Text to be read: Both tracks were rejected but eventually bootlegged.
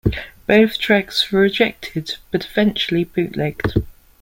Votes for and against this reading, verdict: 2, 0, accepted